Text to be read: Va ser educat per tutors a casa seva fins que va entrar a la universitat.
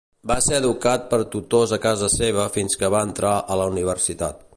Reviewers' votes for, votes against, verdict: 2, 0, accepted